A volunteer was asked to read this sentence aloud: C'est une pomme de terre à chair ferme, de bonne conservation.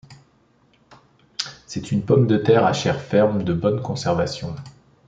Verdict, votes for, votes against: accepted, 2, 0